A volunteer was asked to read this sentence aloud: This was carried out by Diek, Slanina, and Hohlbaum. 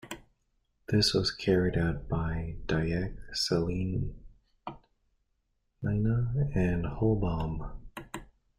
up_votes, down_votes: 0, 2